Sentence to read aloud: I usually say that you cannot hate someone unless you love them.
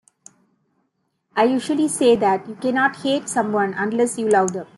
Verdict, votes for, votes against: accepted, 2, 0